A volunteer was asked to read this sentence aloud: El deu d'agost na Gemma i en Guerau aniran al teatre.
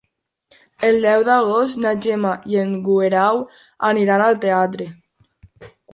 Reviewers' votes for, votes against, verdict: 3, 0, accepted